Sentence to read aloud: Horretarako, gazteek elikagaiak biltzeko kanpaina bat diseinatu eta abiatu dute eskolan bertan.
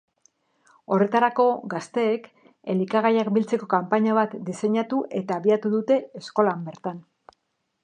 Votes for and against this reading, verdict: 2, 0, accepted